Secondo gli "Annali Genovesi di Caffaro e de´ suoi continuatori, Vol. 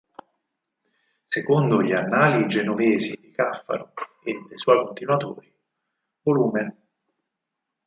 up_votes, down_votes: 2, 6